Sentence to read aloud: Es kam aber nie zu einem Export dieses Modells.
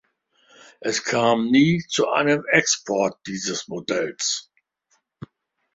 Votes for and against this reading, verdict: 1, 2, rejected